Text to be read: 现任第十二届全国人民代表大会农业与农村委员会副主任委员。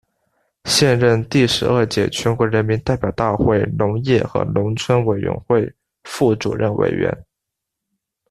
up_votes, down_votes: 2, 0